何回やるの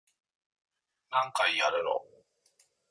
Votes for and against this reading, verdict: 2, 3, rejected